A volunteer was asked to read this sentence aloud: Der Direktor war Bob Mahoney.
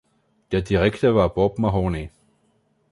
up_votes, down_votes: 2, 1